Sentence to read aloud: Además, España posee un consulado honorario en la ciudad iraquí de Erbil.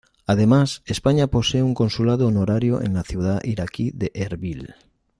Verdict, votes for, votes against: accepted, 2, 0